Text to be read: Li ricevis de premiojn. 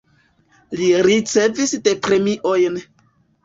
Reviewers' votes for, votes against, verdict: 1, 2, rejected